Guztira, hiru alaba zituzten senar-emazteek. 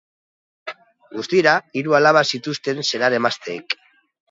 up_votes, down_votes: 2, 0